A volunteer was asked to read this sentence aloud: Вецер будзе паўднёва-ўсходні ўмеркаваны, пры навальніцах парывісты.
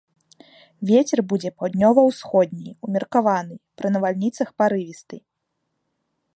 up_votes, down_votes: 2, 1